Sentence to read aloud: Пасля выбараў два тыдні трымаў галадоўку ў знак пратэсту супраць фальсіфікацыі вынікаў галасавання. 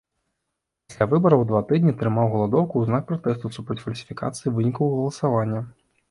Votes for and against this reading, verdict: 1, 2, rejected